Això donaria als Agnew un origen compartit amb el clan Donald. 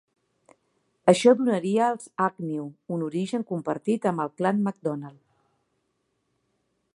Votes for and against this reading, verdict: 1, 2, rejected